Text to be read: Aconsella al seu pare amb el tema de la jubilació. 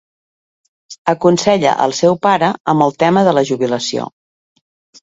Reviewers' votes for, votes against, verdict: 2, 0, accepted